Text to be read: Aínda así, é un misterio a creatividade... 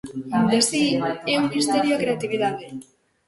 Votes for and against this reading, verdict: 0, 2, rejected